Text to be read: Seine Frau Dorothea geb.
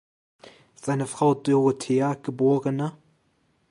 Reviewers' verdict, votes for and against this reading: rejected, 0, 2